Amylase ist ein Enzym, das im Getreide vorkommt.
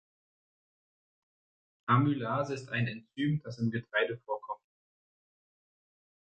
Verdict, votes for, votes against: rejected, 1, 2